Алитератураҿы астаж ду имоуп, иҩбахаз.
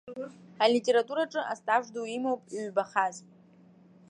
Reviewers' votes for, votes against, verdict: 0, 2, rejected